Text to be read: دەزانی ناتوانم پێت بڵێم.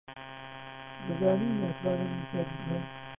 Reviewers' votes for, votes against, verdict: 0, 2, rejected